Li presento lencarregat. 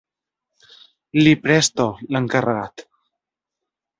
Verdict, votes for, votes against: rejected, 0, 2